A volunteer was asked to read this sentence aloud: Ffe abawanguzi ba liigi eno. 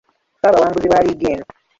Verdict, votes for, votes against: rejected, 0, 2